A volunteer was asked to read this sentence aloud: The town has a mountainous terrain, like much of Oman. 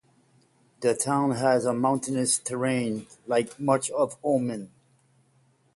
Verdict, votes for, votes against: accepted, 5, 0